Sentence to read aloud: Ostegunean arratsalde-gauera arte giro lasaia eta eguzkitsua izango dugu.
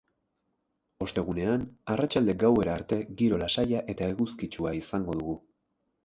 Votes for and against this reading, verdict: 8, 0, accepted